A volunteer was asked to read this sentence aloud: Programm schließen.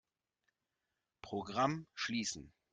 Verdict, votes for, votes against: accepted, 2, 0